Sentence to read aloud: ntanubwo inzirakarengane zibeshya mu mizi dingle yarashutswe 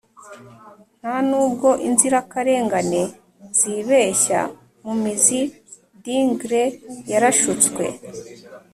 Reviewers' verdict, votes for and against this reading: accepted, 3, 0